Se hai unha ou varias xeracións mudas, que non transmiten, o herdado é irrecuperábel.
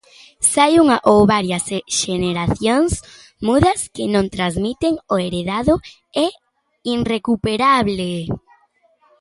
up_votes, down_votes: 0, 2